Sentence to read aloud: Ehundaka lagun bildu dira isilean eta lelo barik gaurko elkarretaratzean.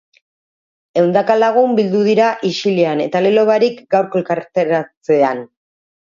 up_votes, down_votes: 0, 2